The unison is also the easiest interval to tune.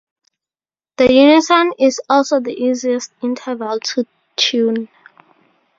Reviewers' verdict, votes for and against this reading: accepted, 2, 0